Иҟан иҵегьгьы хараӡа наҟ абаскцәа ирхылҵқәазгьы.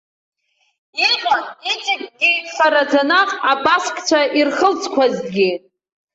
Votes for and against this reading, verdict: 2, 3, rejected